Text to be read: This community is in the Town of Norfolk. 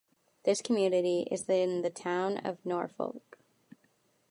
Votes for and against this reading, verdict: 2, 1, accepted